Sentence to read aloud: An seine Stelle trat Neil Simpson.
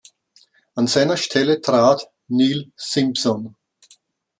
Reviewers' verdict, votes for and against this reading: rejected, 1, 2